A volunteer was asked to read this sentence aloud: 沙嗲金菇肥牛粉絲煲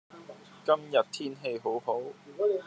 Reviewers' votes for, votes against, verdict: 0, 2, rejected